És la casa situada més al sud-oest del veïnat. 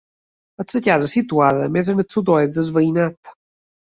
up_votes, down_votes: 2, 1